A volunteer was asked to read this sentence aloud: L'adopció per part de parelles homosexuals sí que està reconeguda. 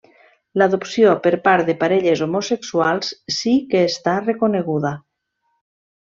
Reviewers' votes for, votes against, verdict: 3, 0, accepted